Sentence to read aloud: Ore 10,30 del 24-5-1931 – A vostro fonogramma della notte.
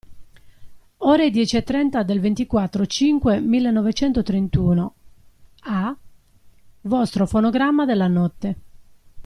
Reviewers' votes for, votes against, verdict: 0, 2, rejected